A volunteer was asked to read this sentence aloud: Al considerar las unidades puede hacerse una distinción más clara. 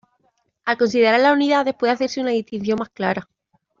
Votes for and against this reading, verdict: 0, 2, rejected